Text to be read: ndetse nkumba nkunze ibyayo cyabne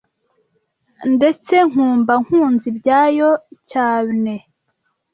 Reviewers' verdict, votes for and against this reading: rejected, 1, 2